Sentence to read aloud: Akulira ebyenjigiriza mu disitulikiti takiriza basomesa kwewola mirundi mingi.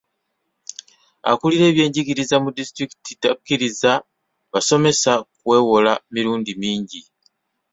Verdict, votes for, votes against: accepted, 2, 0